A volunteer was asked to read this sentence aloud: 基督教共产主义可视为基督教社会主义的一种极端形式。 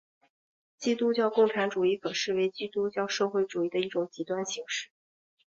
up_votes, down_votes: 2, 0